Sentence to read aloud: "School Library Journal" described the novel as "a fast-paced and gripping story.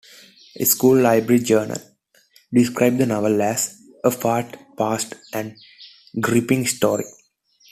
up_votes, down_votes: 2, 1